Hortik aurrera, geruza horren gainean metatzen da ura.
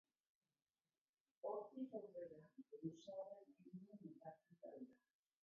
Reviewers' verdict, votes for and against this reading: rejected, 0, 3